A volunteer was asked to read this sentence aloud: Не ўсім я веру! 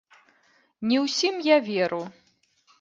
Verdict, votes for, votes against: rejected, 0, 2